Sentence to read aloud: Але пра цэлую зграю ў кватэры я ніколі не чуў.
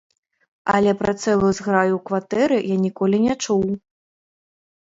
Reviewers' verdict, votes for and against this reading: accepted, 2, 0